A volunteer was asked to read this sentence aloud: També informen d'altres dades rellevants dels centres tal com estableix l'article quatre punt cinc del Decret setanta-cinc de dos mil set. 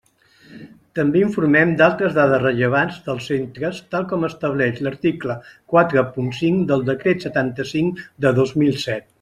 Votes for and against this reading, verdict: 0, 2, rejected